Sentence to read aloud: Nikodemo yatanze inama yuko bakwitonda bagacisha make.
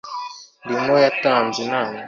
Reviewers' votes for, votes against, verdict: 0, 2, rejected